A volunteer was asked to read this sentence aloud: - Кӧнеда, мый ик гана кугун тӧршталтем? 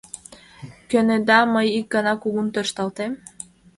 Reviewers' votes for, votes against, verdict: 2, 0, accepted